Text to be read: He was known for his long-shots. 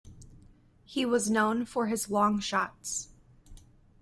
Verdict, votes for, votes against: accepted, 3, 0